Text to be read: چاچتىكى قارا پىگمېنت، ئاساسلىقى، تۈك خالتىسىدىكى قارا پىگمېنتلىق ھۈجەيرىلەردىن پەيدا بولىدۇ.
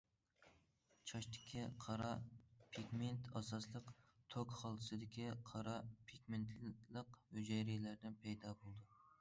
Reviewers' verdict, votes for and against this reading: rejected, 0, 2